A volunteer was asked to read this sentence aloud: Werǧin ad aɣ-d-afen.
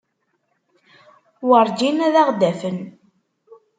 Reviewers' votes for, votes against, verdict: 2, 0, accepted